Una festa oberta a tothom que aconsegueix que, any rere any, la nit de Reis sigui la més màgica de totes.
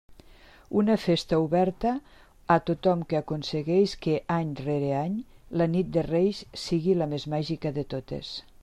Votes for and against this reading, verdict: 3, 1, accepted